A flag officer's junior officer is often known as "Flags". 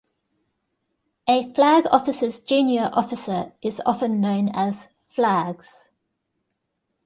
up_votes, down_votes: 2, 0